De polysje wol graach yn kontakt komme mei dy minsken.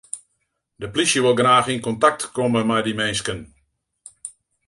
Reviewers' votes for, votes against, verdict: 0, 2, rejected